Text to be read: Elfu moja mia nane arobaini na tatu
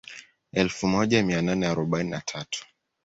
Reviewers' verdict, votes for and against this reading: accepted, 2, 0